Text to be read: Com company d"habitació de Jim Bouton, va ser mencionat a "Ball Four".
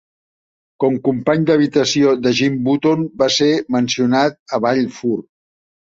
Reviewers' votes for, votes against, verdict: 0, 2, rejected